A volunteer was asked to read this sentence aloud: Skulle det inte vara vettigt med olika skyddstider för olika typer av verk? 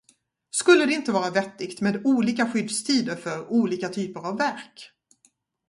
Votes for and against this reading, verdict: 4, 0, accepted